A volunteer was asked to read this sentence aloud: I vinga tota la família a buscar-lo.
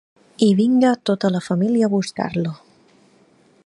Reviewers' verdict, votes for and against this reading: accepted, 2, 0